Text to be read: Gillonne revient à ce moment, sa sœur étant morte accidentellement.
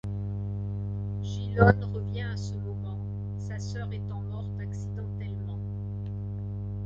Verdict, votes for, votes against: rejected, 1, 2